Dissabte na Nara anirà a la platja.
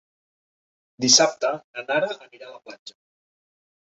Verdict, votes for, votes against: rejected, 0, 2